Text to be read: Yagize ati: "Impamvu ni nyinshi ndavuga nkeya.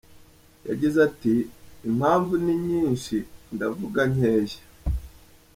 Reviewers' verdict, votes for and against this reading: accepted, 2, 0